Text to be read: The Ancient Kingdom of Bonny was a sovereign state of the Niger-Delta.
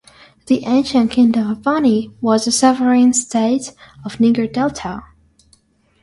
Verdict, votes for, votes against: rejected, 0, 6